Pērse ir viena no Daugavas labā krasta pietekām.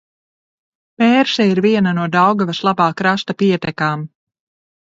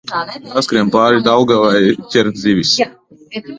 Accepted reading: first